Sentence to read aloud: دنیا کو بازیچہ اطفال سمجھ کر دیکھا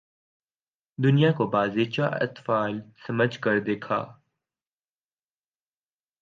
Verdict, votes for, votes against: accepted, 2, 0